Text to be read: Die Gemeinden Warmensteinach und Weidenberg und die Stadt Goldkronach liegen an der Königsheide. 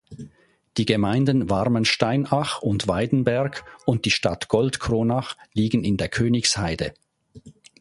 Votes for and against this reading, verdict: 0, 2, rejected